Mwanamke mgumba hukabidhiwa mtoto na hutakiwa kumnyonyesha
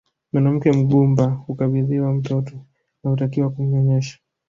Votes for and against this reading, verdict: 2, 0, accepted